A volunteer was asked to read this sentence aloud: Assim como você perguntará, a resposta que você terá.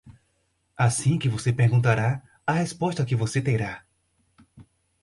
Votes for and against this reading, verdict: 2, 2, rejected